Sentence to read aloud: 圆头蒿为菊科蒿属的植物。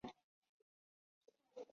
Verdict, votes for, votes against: rejected, 0, 2